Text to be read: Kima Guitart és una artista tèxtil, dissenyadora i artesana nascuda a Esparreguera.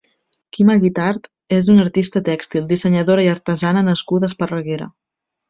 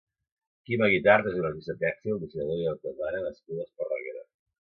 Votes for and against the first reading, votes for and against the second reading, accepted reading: 3, 0, 0, 2, first